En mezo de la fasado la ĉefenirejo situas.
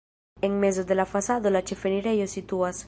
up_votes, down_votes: 2, 0